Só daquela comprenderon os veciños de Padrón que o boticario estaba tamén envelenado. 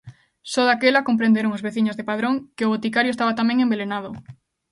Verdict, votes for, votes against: accepted, 2, 0